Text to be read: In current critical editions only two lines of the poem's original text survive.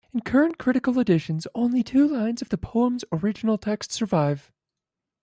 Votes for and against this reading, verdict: 0, 2, rejected